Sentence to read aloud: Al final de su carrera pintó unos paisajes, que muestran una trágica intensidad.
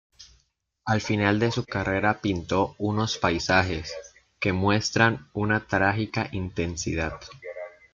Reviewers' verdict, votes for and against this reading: accepted, 2, 0